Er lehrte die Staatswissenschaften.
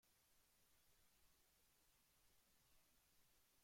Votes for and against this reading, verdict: 0, 2, rejected